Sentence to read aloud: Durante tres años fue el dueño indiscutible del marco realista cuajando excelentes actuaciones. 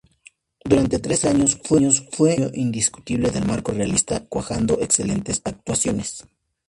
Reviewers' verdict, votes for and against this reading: accepted, 2, 0